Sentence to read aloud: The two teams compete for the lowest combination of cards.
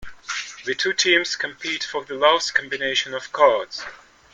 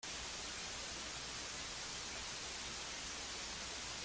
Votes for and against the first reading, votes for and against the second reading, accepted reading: 2, 0, 0, 2, first